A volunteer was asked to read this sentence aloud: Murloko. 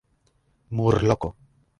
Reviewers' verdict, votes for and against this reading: rejected, 1, 2